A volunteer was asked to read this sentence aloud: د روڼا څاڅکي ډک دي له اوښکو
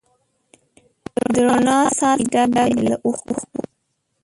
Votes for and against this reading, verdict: 0, 2, rejected